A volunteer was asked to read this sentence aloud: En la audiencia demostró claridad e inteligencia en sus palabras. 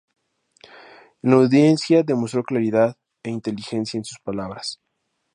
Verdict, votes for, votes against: rejected, 2, 2